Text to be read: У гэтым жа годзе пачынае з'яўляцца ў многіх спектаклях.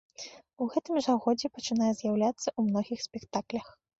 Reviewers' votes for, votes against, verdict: 2, 0, accepted